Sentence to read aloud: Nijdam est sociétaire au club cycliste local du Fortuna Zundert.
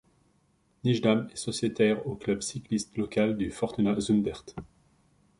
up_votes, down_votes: 2, 0